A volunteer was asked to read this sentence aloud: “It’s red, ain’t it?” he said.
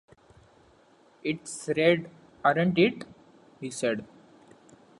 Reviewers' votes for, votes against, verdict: 0, 2, rejected